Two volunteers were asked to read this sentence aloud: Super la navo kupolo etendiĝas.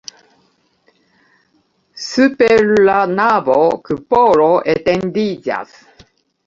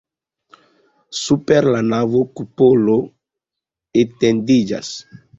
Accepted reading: second